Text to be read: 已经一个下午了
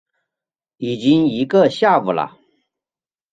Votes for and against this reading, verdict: 0, 2, rejected